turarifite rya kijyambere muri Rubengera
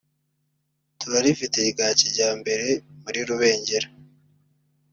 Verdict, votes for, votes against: accepted, 2, 1